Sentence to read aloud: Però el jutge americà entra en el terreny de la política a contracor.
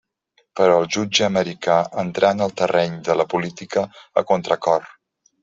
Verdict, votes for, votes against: rejected, 1, 2